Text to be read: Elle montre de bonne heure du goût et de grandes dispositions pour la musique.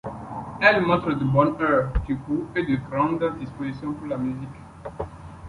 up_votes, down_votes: 2, 1